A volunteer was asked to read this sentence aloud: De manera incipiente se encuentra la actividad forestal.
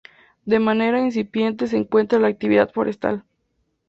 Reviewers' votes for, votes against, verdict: 4, 0, accepted